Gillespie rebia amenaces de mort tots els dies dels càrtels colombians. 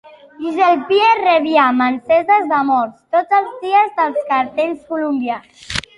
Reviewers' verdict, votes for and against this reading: rejected, 0, 2